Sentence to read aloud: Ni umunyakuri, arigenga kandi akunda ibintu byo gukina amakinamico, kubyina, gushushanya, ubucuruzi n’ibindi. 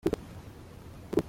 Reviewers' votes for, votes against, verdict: 0, 2, rejected